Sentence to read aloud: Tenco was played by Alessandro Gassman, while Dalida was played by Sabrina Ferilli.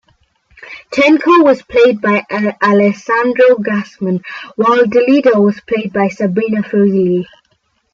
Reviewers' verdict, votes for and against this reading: rejected, 1, 2